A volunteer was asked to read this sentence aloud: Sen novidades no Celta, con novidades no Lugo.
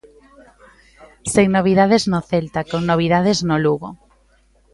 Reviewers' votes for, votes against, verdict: 2, 0, accepted